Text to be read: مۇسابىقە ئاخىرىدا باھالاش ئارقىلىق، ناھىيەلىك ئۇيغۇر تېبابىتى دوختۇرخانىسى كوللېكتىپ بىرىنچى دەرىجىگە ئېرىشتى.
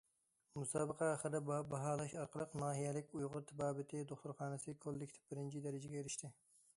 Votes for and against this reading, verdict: 0, 2, rejected